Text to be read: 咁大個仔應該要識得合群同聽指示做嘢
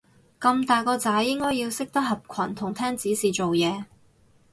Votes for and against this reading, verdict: 4, 0, accepted